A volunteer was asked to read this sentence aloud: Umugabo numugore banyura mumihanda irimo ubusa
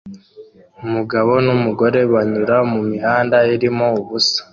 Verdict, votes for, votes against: accepted, 2, 0